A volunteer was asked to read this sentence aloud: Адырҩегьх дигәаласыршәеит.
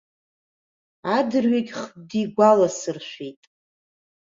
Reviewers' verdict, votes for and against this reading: accepted, 2, 1